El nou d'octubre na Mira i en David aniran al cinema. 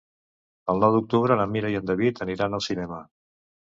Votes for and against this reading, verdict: 2, 0, accepted